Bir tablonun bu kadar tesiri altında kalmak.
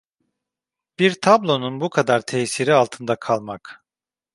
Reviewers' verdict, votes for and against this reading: accepted, 2, 0